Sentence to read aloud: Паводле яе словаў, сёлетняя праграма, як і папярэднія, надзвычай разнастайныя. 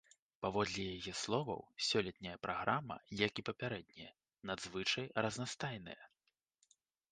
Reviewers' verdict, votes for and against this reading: accepted, 2, 0